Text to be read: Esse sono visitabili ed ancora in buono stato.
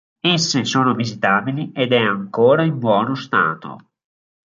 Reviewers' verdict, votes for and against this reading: rejected, 1, 2